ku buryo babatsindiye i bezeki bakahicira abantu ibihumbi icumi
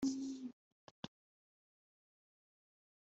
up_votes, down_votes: 0, 3